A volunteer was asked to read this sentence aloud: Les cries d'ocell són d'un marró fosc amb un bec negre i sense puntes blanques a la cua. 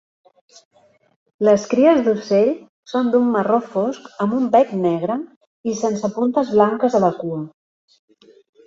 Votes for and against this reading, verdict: 0, 2, rejected